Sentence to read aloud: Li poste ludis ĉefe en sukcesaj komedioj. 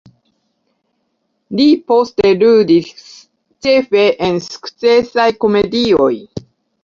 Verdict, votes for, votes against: accepted, 2, 0